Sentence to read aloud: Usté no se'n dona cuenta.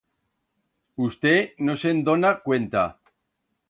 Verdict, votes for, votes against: accepted, 2, 0